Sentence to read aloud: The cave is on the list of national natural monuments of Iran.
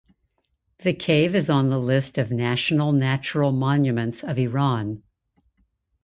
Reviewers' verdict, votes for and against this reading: accepted, 2, 0